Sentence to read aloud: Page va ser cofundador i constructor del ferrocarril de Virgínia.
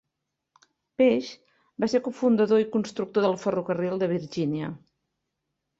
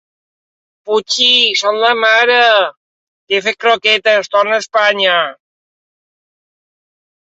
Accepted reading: first